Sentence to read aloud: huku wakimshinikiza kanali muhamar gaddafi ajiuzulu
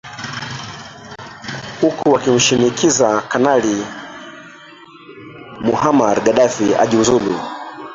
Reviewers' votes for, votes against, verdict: 0, 3, rejected